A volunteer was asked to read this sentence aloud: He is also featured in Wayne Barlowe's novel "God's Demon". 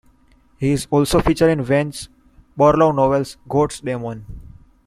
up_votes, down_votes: 2, 1